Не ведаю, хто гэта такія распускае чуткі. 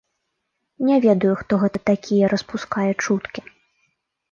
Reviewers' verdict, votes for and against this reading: accepted, 2, 0